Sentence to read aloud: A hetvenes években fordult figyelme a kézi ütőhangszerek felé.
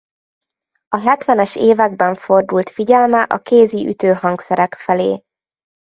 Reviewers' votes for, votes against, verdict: 2, 0, accepted